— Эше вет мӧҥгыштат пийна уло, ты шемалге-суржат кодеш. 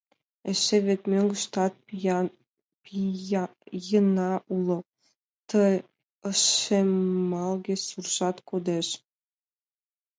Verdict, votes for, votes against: rejected, 1, 2